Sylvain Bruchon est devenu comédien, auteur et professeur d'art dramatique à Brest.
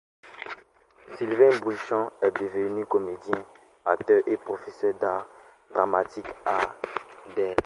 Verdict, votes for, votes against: rejected, 0, 2